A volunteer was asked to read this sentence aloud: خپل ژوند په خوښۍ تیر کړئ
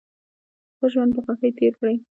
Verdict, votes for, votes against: accepted, 2, 0